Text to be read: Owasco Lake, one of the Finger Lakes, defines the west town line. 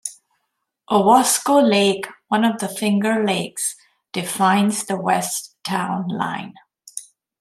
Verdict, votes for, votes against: accepted, 2, 0